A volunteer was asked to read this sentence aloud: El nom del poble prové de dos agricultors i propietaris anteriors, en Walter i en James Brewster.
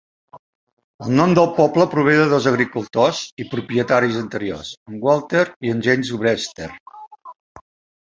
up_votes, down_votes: 2, 0